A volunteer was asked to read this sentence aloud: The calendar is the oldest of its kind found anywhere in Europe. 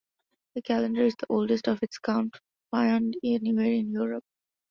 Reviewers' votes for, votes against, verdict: 1, 2, rejected